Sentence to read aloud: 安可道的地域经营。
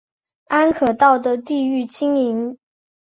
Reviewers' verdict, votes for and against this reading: accepted, 2, 0